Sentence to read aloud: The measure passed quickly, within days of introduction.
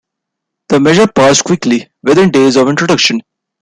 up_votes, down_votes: 2, 1